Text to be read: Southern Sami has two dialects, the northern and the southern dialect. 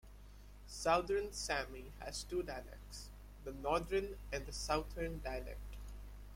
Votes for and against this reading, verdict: 2, 1, accepted